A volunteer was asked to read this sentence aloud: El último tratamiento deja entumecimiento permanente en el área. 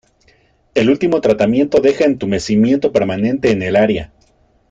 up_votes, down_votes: 2, 0